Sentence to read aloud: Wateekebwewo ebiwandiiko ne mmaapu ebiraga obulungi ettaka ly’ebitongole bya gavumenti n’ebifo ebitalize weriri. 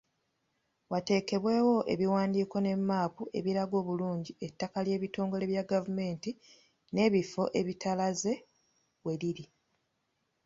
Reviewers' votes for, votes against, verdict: 2, 1, accepted